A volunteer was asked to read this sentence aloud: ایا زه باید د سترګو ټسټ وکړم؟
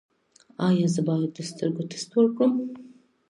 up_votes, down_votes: 2, 0